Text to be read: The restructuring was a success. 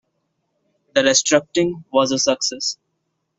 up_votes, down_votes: 0, 2